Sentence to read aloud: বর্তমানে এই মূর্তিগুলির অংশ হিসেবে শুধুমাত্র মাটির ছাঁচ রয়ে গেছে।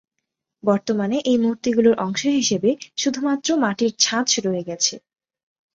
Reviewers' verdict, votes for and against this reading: accepted, 2, 0